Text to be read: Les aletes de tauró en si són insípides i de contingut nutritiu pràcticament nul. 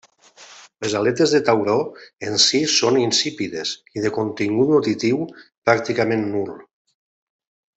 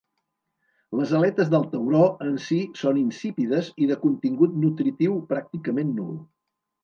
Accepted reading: first